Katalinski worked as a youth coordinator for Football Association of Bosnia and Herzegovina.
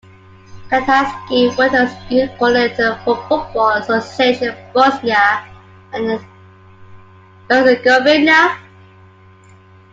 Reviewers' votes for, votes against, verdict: 0, 2, rejected